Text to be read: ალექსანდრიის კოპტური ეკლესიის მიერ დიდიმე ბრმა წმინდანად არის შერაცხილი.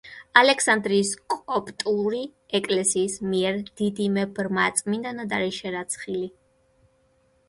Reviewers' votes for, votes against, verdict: 1, 2, rejected